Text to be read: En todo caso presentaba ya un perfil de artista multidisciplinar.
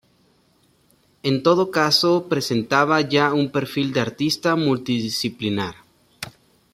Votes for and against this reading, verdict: 3, 0, accepted